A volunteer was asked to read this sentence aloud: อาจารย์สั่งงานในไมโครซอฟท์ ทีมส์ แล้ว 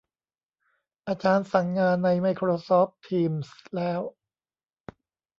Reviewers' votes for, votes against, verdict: 0, 2, rejected